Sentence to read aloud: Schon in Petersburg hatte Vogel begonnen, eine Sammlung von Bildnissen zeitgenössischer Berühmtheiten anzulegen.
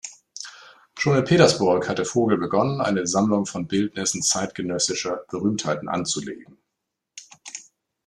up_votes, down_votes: 2, 0